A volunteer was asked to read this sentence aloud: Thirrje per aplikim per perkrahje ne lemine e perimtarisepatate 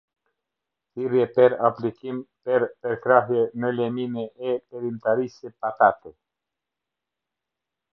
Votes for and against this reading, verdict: 0, 2, rejected